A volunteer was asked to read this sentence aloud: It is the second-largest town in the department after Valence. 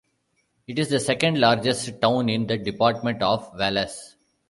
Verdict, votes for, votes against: accepted, 2, 0